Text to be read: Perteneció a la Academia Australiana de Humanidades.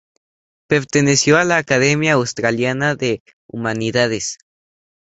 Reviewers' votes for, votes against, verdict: 2, 0, accepted